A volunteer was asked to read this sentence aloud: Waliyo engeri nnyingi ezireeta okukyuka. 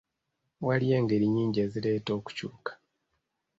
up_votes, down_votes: 2, 0